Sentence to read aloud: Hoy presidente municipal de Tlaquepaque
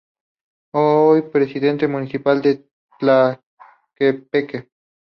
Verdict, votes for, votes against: rejected, 2, 4